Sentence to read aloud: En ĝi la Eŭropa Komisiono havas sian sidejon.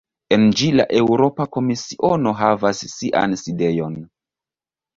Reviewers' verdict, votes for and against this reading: accepted, 2, 1